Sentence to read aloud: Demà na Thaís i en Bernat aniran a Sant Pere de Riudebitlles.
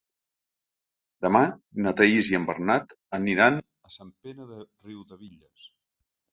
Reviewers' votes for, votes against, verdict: 0, 2, rejected